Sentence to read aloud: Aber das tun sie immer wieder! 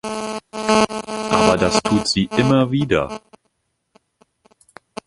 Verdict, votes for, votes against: rejected, 0, 2